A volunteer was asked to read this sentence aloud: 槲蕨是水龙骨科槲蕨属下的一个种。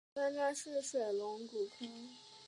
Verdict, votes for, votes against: rejected, 1, 2